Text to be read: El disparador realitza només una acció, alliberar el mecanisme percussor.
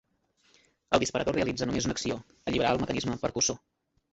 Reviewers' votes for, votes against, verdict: 0, 2, rejected